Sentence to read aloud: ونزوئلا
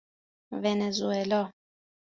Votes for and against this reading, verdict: 2, 0, accepted